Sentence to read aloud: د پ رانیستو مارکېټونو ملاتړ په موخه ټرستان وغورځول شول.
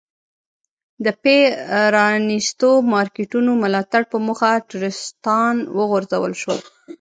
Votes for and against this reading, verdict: 1, 2, rejected